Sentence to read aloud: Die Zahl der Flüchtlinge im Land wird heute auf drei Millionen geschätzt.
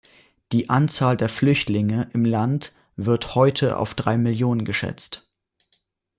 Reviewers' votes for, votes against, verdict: 0, 2, rejected